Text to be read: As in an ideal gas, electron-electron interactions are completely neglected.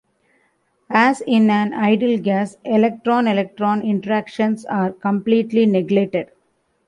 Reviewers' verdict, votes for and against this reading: accepted, 2, 1